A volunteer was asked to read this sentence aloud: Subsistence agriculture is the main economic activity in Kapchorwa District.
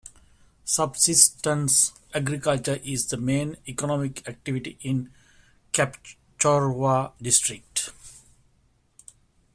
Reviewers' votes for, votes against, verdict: 0, 2, rejected